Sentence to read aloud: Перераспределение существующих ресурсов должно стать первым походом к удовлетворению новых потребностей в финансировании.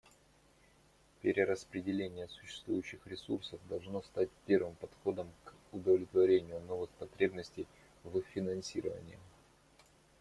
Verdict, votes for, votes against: accepted, 2, 0